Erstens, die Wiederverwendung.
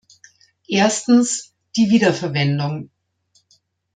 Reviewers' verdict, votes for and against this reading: accepted, 2, 0